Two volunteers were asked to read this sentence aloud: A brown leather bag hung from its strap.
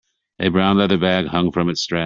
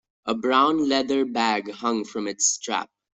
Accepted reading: second